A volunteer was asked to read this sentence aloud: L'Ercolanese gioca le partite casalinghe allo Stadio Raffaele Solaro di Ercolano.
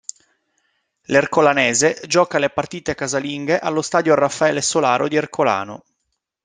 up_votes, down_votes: 2, 0